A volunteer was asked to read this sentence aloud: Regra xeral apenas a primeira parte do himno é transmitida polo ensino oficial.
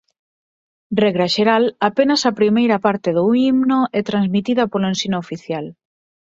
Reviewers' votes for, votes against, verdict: 6, 0, accepted